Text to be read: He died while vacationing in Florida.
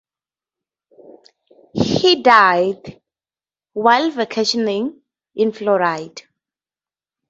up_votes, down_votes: 0, 2